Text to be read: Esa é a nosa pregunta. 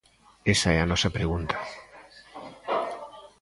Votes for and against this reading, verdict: 2, 0, accepted